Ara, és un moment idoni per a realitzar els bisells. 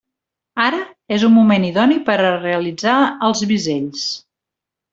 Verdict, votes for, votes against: accepted, 3, 0